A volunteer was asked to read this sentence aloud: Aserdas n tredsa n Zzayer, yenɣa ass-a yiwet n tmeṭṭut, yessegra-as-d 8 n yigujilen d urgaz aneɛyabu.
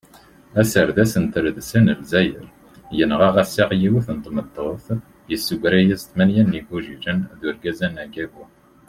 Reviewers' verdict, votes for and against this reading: rejected, 0, 2